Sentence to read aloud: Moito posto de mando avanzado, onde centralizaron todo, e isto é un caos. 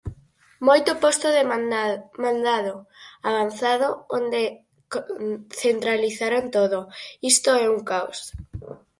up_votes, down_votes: 0, 4